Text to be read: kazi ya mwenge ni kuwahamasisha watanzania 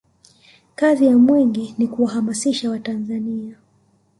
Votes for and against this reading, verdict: 2, 0, accepted